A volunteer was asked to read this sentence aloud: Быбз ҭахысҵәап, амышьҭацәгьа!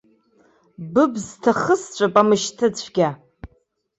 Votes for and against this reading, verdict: 1, 2, rejected